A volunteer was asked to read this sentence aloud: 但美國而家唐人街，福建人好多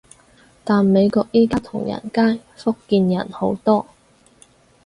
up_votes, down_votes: 2, 2